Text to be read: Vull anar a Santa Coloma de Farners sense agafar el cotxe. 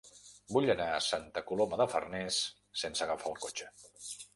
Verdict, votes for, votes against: accepted, 3, 0